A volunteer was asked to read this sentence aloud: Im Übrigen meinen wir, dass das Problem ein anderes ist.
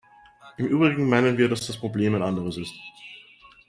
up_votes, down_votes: 2, 0